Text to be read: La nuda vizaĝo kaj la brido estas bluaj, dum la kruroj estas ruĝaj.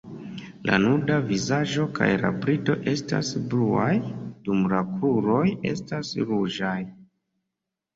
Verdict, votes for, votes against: accepted, 2, 1